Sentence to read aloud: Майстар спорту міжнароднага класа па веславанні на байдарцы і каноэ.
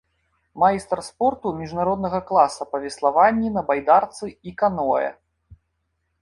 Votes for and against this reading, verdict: 3, 0, accepted